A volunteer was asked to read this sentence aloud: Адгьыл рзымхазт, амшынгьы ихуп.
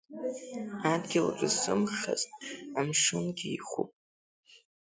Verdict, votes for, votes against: accepted, 2, 1